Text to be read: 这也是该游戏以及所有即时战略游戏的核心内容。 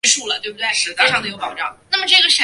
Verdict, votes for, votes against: rejected, 0, 4